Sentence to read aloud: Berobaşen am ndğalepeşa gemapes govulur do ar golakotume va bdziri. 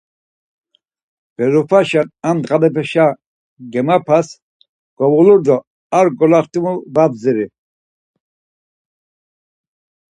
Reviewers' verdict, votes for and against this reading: rejected, 2, 4